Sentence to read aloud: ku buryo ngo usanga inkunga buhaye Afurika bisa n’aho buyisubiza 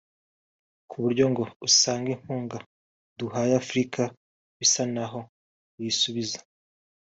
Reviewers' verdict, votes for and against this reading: rejected, 1, 2